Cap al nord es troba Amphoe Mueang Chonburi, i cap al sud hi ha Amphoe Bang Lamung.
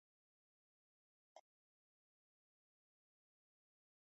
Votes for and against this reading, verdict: 1, 2, rejected